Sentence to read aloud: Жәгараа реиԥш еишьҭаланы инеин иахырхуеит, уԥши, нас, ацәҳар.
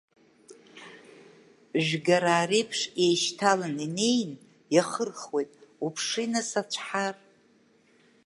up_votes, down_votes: 1, 2